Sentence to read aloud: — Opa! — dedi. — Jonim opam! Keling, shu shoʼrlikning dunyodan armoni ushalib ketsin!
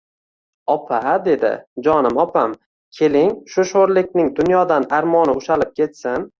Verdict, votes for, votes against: rejected, 1, 2